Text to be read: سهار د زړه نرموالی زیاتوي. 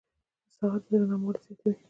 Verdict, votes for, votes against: rejected, 0, 2